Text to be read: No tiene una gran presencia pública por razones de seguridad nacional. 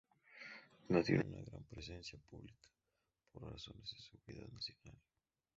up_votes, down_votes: 0, 2